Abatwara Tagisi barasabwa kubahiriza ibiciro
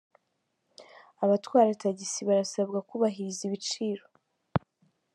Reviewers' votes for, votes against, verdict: 1, 2, rejected